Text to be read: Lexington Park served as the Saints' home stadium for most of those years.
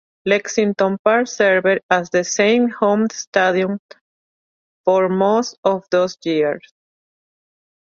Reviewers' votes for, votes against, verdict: 0, 2, rejected